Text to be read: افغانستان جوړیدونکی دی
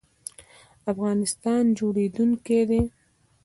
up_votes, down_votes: 0, 2